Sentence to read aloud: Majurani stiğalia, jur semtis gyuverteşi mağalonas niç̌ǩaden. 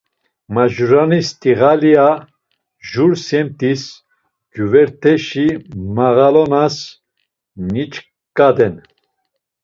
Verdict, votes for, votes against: accepted, 2, 0